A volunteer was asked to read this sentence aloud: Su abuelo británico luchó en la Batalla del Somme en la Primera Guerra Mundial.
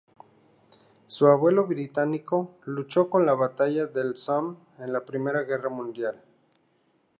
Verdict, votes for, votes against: rejected, 0, 2